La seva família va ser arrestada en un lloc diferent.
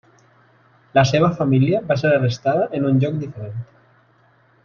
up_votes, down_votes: 1, 2